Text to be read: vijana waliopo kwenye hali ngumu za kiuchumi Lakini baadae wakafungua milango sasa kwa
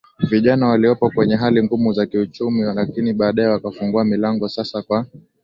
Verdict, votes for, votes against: accepted, 2, 0